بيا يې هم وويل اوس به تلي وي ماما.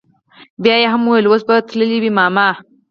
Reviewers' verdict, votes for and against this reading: accepted, 4, 0